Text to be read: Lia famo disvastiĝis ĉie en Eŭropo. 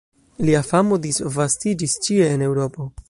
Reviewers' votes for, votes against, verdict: 1, 2, rejected